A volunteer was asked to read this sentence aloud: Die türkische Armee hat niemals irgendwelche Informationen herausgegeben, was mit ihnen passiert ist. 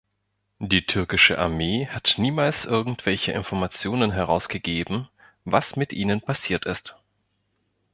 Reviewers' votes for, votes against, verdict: 2, 0, accepted